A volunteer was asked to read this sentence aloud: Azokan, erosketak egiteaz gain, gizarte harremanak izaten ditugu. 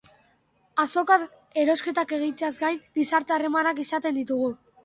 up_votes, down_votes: 2, 0